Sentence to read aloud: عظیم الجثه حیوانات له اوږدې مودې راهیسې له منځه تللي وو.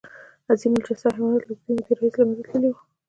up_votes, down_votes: 2, 0